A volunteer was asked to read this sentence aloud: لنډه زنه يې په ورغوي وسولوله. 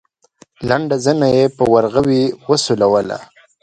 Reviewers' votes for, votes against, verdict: 2, 0, accepted